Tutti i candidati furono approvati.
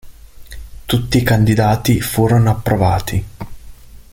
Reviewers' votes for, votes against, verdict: 3, 0, accepted